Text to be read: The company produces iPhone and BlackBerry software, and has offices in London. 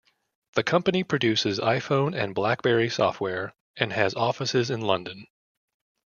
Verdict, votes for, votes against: accepted, 2, 0